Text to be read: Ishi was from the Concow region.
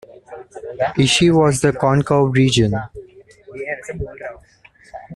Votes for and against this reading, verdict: 0, 2, rejected